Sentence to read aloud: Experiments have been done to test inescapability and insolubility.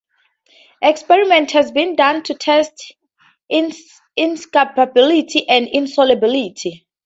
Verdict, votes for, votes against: accepted, 2, 0